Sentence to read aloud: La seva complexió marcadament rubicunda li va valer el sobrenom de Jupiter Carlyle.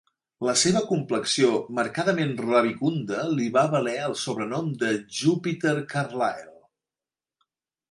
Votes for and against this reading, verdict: 0, 3, rejected